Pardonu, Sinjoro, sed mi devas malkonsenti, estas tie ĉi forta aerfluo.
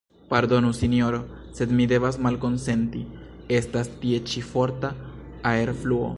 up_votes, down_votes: 2, 0